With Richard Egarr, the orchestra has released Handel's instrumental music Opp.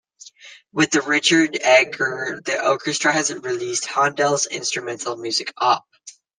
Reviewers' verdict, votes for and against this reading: accepted, 2, 1